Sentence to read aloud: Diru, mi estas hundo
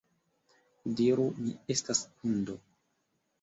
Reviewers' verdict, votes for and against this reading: rejected, 0, 2